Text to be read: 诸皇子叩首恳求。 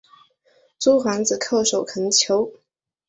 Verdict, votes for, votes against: accepted, 2, 0